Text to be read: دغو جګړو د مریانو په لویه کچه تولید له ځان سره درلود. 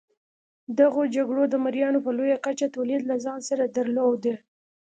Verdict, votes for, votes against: accepted, 2, 0